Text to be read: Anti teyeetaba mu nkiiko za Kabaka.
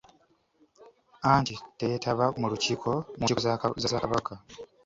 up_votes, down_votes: 0, 2